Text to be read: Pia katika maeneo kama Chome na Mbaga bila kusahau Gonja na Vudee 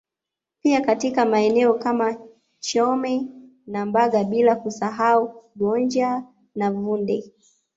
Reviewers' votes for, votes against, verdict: 0, 2, rejected